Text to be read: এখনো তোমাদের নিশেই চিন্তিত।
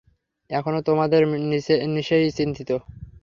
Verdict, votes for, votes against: rejected, 0, 3